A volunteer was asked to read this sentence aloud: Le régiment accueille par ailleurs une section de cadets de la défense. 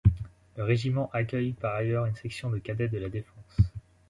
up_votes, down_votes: 2, 0